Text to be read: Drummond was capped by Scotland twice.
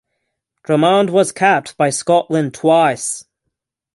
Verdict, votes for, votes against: accepted, 6, 0